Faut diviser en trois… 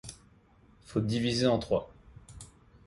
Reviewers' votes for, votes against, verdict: 3, 0, accepted